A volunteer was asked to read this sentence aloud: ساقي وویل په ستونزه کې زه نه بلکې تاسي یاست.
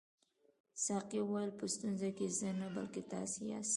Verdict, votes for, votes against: accepted, 2, 0